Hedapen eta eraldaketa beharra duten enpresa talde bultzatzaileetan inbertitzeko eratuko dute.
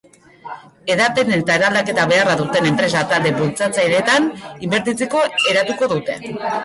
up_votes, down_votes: 0, 2